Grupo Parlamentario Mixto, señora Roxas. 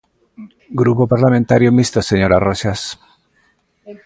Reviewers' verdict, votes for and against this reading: accepted, 2, 0